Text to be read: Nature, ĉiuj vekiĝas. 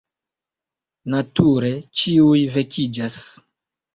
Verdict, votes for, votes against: accepted, 2, 1